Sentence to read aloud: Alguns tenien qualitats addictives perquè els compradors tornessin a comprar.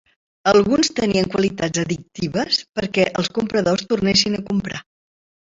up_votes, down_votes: 3, 0